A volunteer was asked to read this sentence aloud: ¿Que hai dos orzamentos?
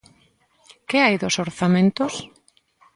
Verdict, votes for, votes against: accepted, 2, 0